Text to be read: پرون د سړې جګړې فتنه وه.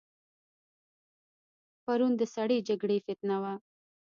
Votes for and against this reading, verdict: 1, 2, rejected